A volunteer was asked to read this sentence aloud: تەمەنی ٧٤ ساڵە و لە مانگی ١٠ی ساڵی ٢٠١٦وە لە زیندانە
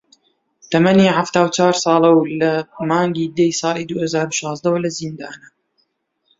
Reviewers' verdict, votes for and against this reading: rejected, 0, 2